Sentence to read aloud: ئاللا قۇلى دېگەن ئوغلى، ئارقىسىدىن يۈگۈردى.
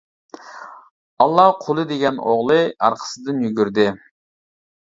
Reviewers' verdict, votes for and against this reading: accepted, 2, 0